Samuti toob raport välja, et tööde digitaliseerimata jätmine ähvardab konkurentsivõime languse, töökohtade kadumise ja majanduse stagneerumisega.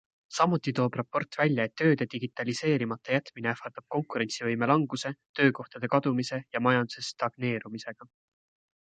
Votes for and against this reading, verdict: 2, 0, accepted